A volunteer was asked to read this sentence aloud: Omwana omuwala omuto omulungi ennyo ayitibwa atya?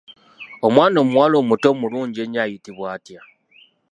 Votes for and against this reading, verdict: 3, 1, accepted